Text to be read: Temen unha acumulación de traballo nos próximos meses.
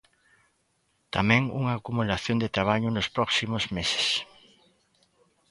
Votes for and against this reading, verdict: 1, 2, rejected